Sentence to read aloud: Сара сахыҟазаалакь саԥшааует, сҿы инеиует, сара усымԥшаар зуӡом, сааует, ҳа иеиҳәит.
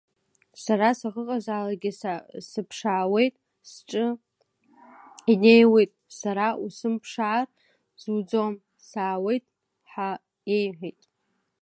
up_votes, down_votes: 1, 2